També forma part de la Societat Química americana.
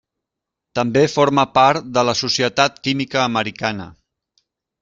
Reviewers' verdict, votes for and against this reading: accepted, 3, 0